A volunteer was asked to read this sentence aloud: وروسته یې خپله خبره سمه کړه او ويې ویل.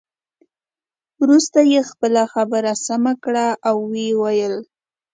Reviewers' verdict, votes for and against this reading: accepted, 2, 0